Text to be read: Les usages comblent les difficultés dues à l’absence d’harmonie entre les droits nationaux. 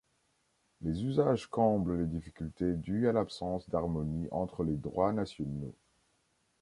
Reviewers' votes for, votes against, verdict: 1, 2, rejected